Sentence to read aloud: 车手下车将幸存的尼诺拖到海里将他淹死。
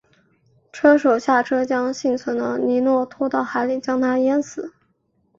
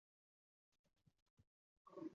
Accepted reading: first